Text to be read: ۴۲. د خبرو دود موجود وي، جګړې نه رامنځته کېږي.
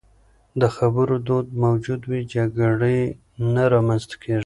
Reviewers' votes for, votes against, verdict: 0, 2, rejected